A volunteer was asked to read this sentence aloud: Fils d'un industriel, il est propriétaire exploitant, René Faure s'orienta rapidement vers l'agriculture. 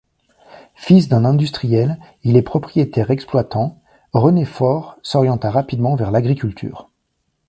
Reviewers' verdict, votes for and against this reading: accepted, 2, 0